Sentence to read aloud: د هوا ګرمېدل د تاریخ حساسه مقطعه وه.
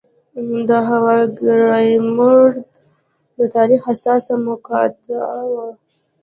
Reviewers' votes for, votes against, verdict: 1, 2, rejected